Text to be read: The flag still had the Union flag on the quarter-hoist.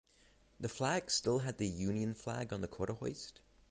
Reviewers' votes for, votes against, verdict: 3, 0, accepted